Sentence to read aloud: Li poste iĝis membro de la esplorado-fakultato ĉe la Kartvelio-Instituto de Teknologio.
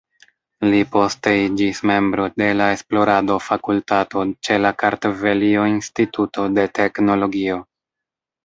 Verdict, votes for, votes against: accepted, 2, 1